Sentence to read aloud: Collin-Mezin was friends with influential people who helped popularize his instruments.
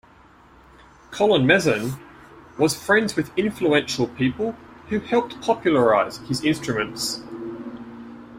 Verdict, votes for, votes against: accepted, 2, 0